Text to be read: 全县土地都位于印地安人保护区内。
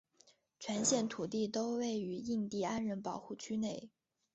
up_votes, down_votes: 6, 0